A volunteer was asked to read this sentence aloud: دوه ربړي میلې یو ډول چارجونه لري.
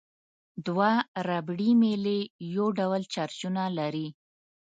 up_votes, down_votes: 2, 0